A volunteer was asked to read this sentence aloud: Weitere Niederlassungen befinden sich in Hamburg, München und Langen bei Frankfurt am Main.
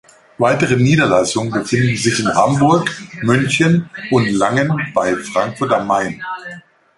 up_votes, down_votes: 0, 2